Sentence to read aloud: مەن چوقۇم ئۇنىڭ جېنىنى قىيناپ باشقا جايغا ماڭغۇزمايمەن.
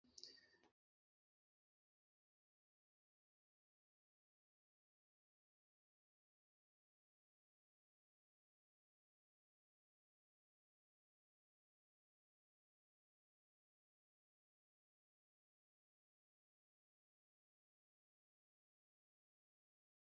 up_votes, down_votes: 0, 3